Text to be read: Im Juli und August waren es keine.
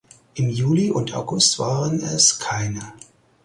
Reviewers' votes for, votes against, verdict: 4, 0, accepted